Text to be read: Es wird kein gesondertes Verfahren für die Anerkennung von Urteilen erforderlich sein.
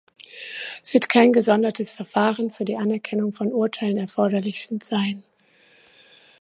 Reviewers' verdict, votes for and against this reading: rejected, 1, 2